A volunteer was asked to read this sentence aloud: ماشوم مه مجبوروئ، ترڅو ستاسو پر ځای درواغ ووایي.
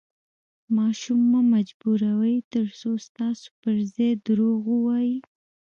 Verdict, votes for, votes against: rejected, 1, 2